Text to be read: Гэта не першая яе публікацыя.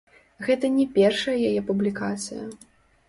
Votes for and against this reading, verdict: 1, 2, rejected